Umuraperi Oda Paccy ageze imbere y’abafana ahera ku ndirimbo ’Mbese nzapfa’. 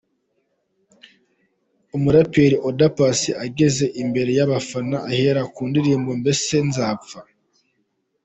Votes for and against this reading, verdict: 2, 0, accepted